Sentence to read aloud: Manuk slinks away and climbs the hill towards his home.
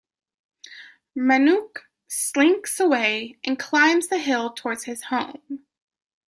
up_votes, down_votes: 2, 0